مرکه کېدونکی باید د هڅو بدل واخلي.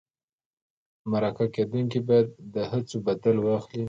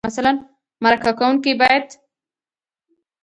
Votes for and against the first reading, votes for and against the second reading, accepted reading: 2, 0, 0, 2, first